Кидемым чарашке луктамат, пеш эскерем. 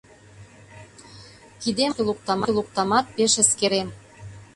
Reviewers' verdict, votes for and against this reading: rejected, 0, 2